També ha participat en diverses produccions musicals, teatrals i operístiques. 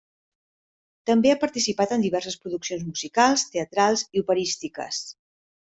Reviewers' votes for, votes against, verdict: 3, 0, accepted